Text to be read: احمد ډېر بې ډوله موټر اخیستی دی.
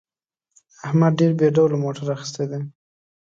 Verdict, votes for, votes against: accepted, 2, 0